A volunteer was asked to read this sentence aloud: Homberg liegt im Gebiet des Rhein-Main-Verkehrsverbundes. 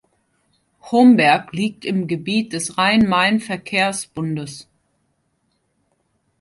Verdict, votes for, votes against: rejected, 0, 2